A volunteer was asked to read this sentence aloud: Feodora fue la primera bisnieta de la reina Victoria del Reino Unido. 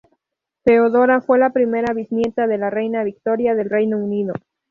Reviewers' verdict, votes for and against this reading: accepted, 4, 0